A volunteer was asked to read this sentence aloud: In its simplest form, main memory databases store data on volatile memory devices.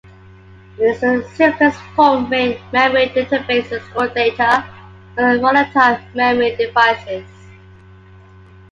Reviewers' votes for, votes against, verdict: 2, 1, accepted